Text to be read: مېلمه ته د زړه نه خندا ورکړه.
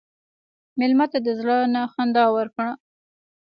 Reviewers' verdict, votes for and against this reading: rejected, 1, 2